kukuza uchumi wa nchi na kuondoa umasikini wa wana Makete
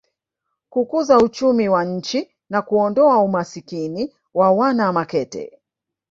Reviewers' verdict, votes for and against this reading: rejected, 1, 2